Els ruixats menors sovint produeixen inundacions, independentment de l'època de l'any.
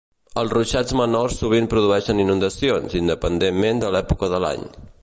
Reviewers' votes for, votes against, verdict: 3, 0, accepted